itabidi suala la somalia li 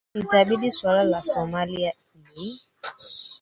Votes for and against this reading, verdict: 0, 4, rejected